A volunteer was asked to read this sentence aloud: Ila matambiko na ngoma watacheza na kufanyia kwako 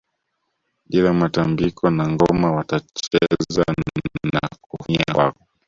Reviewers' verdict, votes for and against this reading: rejected, 0, 2